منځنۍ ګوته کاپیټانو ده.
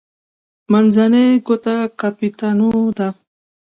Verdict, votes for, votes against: accepted, 2, 0